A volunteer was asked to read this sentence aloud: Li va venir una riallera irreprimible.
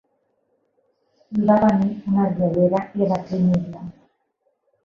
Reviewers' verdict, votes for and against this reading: rejected, 0, 2